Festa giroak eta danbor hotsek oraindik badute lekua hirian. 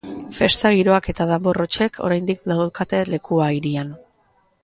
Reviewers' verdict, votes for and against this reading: rejected, 1, 2